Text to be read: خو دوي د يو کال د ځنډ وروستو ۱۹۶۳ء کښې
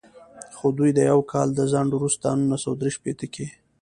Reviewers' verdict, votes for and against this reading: rejected, 0, 2